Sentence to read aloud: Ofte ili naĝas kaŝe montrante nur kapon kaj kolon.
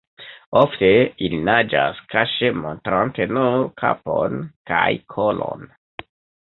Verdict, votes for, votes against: rejected, 1, 2